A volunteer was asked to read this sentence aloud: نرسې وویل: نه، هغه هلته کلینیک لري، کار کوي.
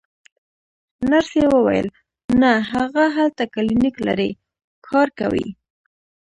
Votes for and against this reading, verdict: 2, 0, accepted